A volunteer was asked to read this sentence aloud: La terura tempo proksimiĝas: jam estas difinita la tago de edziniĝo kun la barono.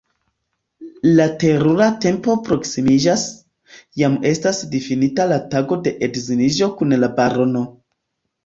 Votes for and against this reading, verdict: 1, 2, rejected